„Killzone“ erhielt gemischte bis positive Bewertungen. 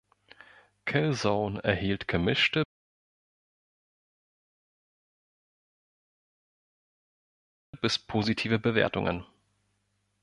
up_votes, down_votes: 0, 2